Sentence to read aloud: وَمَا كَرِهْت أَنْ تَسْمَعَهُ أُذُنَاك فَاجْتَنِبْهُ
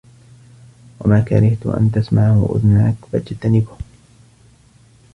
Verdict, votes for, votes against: rejected, 1, 2